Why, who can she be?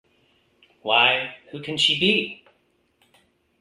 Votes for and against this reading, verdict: 2, 0, accepted